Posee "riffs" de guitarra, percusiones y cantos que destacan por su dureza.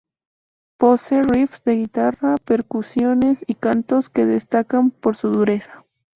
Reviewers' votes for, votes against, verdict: 0, 2, rejected